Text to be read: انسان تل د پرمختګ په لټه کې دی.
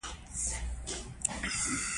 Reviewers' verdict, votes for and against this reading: accepted, 2, 1